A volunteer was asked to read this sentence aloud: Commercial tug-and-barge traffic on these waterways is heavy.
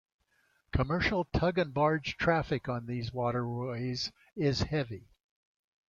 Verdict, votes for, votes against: accepted, 2, 1